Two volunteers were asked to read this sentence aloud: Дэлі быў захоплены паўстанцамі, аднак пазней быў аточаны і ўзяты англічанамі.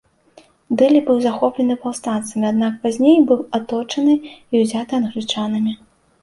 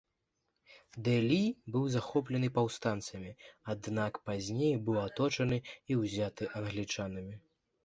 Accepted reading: first